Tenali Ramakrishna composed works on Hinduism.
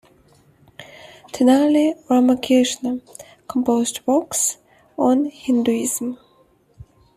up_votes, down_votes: 2, 0